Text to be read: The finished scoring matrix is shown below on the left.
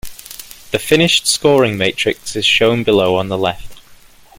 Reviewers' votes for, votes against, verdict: 2, 0, accepted